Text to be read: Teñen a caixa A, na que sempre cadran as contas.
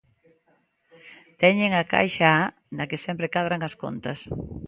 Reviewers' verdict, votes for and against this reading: accepted, 2, 0